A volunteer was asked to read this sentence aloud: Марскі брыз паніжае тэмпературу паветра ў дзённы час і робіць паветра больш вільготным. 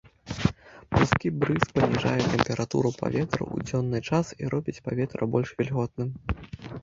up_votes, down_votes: 0, 2